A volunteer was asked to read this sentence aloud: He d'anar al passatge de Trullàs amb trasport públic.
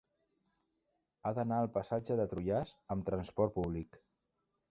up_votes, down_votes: 1, 2